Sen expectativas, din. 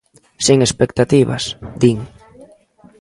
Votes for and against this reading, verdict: 2, 1, accepted